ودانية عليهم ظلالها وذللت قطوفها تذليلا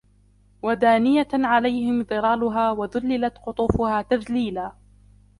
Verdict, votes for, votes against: rejected, 0, 2